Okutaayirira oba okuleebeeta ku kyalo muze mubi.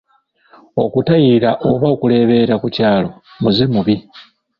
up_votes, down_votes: 0, 2